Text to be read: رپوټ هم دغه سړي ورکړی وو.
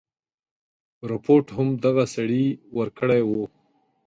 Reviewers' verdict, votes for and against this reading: accepted, 2, 0